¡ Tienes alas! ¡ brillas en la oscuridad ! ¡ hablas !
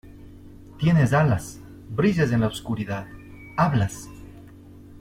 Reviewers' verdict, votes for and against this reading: accepted, 2, 0